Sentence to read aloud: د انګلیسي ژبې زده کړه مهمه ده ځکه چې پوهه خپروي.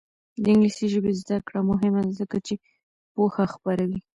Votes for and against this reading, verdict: 1, 2, rejected